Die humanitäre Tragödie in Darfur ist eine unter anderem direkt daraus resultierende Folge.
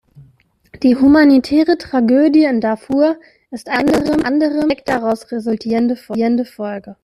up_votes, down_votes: 1, 2